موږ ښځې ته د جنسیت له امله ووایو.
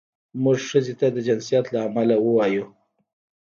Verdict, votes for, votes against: rejected, 1, 2